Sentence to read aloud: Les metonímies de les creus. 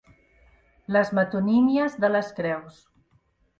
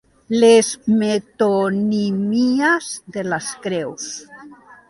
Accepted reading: first